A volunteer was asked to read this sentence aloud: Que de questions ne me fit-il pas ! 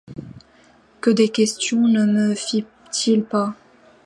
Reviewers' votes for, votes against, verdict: 2, 1, accepted